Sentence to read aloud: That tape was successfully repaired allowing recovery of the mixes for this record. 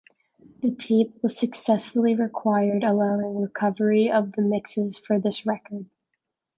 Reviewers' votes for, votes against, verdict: 0, 2, rejected